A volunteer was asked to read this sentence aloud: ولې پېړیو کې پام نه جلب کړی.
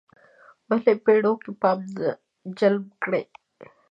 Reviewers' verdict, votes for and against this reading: rejected, 1, 2